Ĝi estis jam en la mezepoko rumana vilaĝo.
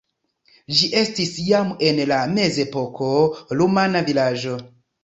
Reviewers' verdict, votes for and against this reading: rejected, 1, 2